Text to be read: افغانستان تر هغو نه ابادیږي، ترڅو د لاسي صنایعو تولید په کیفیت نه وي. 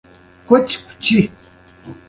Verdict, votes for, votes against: rejected, 1, 2